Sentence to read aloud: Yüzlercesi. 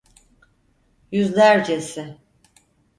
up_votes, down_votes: 4, 0